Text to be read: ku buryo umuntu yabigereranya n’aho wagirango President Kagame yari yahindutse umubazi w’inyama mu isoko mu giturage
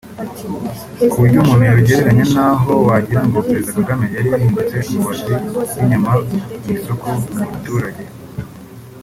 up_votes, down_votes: 0, 2